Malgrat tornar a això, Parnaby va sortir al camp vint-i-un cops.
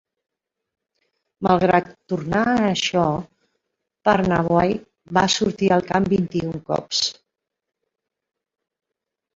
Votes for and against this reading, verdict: 0, 2, rejected